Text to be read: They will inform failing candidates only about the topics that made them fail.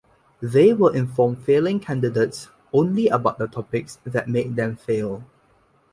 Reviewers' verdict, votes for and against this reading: accepted, 2, 0